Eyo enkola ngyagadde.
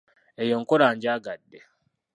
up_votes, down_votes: 1, 2